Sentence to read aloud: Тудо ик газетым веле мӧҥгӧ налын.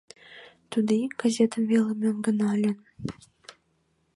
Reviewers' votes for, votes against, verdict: 0, 2, rejected